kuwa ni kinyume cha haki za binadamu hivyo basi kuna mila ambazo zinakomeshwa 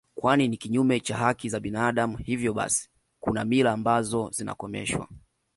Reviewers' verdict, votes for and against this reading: accepted, 2, 1